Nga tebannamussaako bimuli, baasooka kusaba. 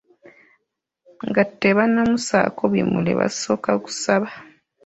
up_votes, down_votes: 0, 2